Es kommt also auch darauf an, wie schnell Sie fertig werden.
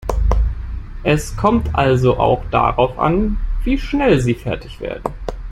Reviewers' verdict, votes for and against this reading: accepted, 2, 0